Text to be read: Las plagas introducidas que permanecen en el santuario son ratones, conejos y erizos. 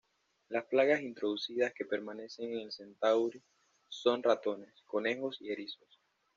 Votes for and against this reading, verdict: 0, 2, rejected